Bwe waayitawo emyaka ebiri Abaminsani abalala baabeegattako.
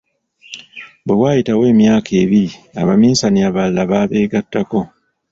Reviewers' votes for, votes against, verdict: 2, 0, accepted